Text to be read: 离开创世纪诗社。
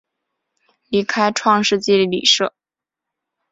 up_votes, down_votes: 0, 2